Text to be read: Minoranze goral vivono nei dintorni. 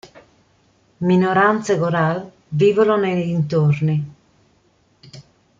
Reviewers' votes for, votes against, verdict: 2, 0, accepted